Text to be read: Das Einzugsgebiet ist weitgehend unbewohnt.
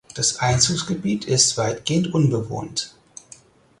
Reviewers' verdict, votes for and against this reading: accepted, 4, 0